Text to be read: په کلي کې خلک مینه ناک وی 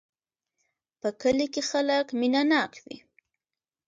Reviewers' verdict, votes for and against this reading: accepted, 2, 0